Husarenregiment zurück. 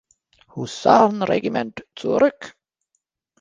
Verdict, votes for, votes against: rejected, 1, 2